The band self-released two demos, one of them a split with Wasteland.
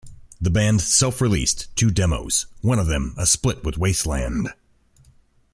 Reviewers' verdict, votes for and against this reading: accepted, 2, 0